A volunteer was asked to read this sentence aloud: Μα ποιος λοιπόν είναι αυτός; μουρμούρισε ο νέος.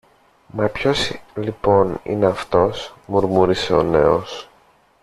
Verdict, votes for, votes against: rejected, 0, 2